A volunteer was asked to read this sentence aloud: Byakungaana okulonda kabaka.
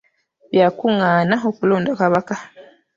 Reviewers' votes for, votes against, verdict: 1, 2, rejected